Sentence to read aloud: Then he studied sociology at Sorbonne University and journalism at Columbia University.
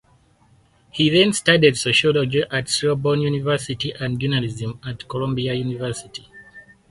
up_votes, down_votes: 2, 4